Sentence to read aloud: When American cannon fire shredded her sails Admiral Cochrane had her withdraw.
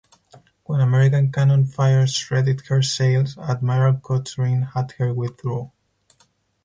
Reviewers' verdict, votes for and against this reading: rejected, 2, 4